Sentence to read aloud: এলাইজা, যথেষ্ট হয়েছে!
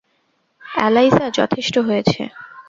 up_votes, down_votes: 2, 0